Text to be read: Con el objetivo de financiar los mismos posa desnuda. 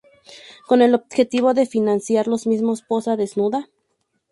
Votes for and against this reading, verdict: 2, 2, rejected